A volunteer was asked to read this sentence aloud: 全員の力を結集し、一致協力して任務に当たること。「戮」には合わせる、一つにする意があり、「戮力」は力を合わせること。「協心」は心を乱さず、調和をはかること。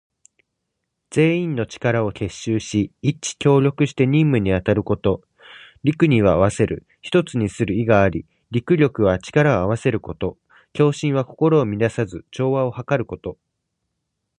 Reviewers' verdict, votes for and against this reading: accepted, 2, 1